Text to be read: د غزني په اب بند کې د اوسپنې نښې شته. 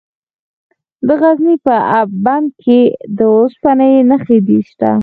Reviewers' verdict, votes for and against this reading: accepted, 4, 0